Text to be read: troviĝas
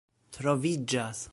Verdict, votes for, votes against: accepted, 2, 0